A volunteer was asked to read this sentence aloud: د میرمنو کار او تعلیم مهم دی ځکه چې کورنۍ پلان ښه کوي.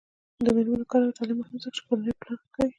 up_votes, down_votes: 2, 1